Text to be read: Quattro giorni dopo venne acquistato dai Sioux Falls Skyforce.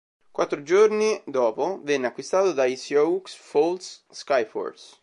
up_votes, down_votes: 2, 1